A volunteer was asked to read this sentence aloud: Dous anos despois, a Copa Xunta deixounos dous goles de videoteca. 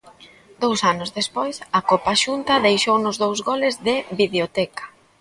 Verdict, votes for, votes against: accepted, 2, 0